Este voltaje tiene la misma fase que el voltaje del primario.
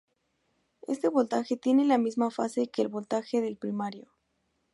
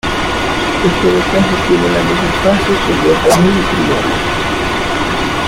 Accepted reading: first